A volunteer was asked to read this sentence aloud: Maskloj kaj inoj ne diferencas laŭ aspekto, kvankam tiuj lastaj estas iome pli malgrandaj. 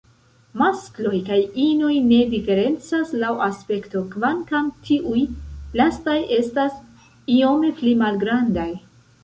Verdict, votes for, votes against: rejected, 0, 2